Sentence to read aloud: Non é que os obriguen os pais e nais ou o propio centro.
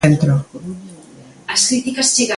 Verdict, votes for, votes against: rejected, 0, 2